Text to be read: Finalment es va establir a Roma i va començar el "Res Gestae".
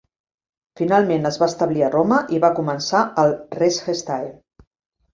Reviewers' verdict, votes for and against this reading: accepted, 2, 0